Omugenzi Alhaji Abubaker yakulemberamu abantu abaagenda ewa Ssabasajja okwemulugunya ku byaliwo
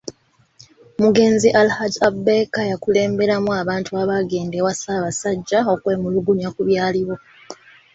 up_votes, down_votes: 2, 1